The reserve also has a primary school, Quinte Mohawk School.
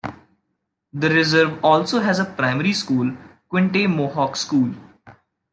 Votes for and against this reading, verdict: 2, 0, accepted